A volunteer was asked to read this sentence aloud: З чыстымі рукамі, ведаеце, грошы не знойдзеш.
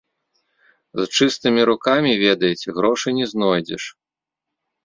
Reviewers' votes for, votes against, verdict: 2, 0, accepted